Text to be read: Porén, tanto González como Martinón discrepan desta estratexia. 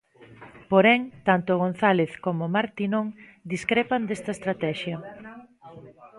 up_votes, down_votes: 1, 2